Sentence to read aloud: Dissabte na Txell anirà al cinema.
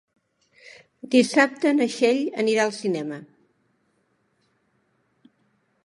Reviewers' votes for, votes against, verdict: 2, 0, accepted